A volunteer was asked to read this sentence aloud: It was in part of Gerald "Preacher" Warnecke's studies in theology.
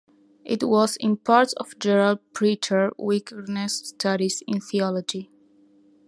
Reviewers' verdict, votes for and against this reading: rejected, 0, 2